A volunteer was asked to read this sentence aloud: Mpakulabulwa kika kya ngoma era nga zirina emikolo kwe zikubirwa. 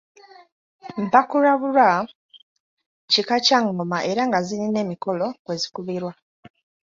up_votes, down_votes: 2, 0